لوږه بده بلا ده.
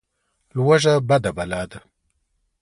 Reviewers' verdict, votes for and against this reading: rejected, 1, 2